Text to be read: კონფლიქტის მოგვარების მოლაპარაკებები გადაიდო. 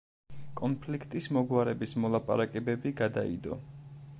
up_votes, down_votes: 2, 0